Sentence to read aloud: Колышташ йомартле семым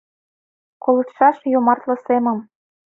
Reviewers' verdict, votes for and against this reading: rejected, 1, 2